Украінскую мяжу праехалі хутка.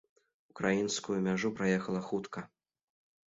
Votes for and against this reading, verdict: 0, 2, rejected